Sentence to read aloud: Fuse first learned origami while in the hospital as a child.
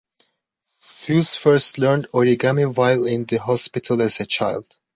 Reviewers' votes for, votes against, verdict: 2, 0, accepted